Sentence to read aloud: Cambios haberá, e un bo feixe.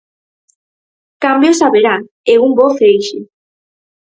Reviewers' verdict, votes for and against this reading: accepted, 4, 0